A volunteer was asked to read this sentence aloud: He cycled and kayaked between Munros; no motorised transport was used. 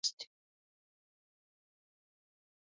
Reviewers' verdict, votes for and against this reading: rejected, 0, 2